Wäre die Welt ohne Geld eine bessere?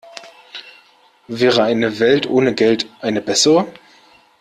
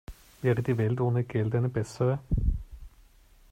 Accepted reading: second